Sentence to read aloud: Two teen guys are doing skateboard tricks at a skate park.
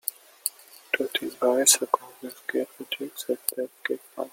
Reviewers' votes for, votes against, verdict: 0, 2, rejected